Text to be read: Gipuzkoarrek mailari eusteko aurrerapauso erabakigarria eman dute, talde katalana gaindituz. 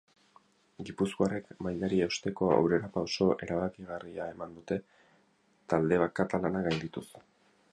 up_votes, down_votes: 0, 4